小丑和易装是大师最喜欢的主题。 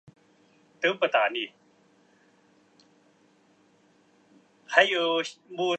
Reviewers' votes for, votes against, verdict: 1, 3, rejected